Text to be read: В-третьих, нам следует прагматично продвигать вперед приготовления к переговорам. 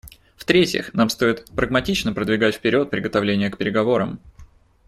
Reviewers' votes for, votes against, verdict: 1, 2, rejected